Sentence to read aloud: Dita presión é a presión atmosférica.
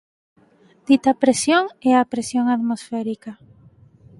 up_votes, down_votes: 4, 0